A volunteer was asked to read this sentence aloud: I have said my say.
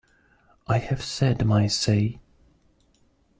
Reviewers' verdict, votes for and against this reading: accepted, 2, 0